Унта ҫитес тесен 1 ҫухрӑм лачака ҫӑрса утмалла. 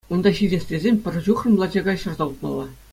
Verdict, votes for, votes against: rejected, 0, 2